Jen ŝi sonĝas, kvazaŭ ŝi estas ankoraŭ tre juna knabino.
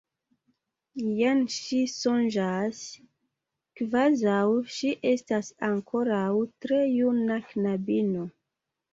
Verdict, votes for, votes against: accepted, 2, 0